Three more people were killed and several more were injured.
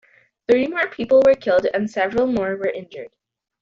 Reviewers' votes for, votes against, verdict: 2, 0, accepted